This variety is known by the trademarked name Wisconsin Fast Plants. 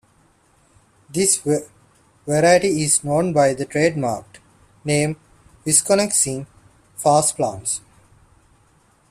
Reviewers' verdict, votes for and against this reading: rejected, 0, 2